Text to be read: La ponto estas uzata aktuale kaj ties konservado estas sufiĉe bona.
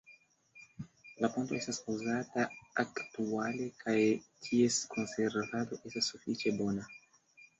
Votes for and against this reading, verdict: 2, 0, accepted